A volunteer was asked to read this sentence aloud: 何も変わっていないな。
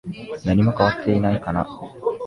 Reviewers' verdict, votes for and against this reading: rejected, 0, 2